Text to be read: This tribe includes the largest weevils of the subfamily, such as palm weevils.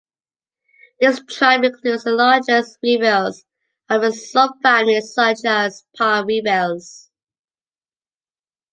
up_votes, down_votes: 0, 2